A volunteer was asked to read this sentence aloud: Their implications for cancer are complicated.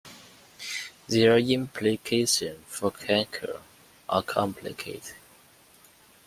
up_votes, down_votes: 2, 0